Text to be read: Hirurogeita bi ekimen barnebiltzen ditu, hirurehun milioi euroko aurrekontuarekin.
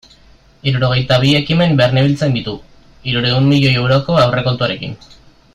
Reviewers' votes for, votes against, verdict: 1, 2, rejected